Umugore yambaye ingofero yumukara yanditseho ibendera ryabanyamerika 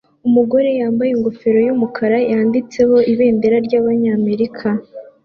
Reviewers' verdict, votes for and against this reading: accepted, 2, 1